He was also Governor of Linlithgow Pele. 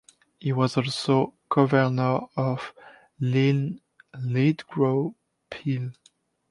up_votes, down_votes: 1, 2